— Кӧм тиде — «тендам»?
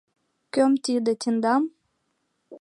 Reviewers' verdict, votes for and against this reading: rejected, 0, 2